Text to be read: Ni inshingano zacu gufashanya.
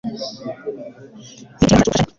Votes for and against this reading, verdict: 0, 2, rejected